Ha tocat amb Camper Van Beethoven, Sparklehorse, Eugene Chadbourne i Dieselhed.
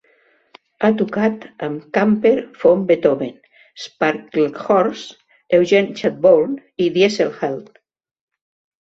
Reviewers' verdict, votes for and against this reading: rejected, 0, 2